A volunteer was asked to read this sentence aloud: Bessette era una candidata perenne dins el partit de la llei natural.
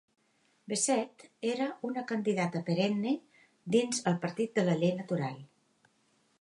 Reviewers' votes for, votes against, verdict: 3, 0, accepted